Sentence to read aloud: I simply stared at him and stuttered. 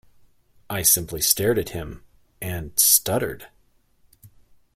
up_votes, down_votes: 2, 0